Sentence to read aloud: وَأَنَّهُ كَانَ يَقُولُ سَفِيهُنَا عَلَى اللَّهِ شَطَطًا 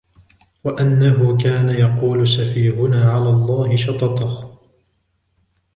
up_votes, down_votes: 2, 0